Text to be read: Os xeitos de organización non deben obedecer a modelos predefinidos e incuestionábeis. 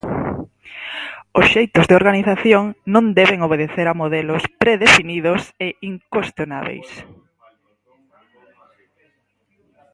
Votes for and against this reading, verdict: 4, 2, accepted